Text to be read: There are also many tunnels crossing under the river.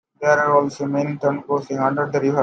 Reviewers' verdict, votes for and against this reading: rejected, 0, 2